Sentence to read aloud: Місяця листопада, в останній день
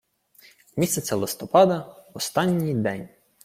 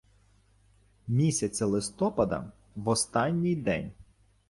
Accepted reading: first